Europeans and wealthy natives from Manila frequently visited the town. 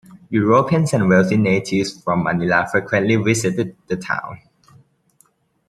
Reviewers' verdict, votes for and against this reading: accepted, 2, 1